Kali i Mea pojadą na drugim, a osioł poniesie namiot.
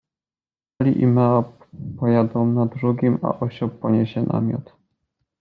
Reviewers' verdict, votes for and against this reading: rejected, 1, 2